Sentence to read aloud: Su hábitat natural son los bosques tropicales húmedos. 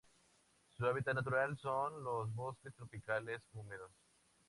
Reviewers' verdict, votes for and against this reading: rejected, 2, 2